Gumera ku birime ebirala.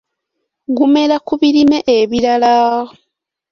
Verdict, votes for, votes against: rejected, 1, 2